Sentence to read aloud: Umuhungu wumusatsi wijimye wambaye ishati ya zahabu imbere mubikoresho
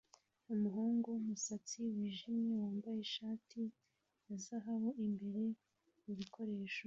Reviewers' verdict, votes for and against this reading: accepted, 2, 1